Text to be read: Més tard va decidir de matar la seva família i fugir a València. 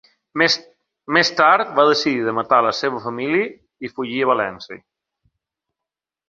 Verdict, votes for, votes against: rejected, 0, 2